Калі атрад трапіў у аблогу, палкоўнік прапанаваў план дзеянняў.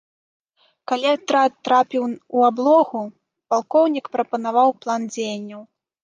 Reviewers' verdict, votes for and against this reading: rejected, 1, 2